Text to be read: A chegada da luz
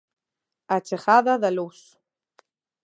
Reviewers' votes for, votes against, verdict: 1, 2, rejected